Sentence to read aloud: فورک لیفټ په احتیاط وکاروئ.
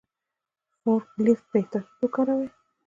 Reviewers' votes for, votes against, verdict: 1, 2, rejected